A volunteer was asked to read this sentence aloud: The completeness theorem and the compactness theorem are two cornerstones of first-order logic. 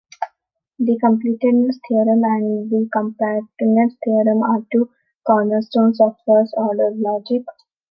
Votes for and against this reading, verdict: 1, 2, rejected